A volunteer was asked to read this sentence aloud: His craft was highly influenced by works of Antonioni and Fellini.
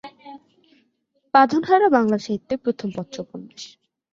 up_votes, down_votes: 0, 3